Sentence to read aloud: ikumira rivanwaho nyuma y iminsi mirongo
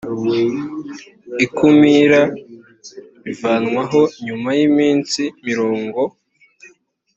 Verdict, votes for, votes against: accepted, 2, 0